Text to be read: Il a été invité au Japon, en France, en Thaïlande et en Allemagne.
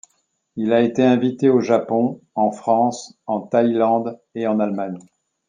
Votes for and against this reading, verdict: 2, 0, accepted